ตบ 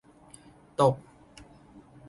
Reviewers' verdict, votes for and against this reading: accepted, 2, 0